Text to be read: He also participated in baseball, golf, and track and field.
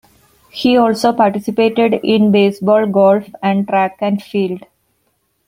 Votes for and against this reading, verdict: 2, 0, accepted